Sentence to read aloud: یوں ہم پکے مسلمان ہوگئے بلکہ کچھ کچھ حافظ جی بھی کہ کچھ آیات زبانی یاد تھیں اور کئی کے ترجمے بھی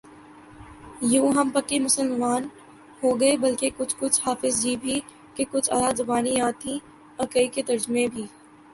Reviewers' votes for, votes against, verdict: 0, 3, rejected